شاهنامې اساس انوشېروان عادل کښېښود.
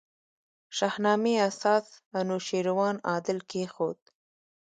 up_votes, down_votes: 0, 2